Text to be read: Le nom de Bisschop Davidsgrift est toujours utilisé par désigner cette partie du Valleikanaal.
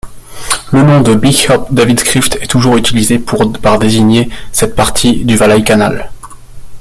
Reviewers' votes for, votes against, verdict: 0, 2, rejected